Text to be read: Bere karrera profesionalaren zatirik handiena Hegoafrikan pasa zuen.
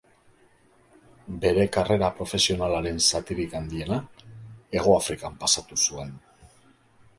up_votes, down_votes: 2, 1